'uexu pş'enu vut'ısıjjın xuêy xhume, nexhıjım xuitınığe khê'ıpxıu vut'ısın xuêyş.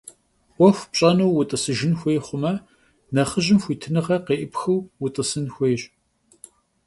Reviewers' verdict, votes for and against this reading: accepted, 2, 0